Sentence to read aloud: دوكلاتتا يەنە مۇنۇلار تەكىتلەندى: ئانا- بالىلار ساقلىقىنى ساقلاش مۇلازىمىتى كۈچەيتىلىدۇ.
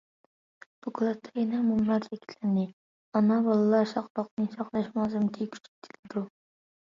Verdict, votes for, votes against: rejected, 0, 2